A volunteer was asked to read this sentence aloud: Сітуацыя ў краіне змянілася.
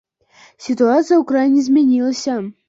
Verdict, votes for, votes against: accepted, 2, 0